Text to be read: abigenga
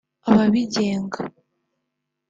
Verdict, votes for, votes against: rejected, 0, 2